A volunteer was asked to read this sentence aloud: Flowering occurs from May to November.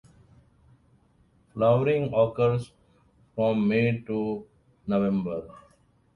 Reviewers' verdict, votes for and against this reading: accepted, 2, 0